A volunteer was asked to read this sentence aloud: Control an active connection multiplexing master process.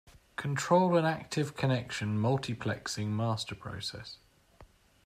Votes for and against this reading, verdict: 2, 0, accepted